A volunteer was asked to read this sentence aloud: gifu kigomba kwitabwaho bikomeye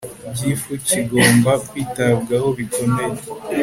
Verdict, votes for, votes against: accepted, 3, 0